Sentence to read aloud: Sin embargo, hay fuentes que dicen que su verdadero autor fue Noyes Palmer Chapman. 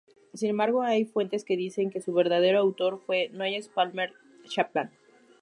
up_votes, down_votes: 0, 2